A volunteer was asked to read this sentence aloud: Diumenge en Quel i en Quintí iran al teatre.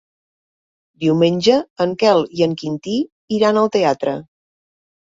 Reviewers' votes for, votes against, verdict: 3, 0, accepted